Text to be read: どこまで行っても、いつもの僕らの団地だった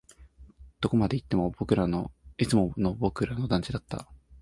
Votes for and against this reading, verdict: 0, 2, rejected